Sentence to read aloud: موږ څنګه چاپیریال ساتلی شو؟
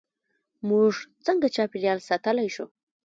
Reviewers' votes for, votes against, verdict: 2, 1, accepted